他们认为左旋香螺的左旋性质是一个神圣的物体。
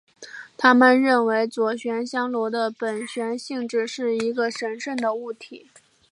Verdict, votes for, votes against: accepted, 2, 0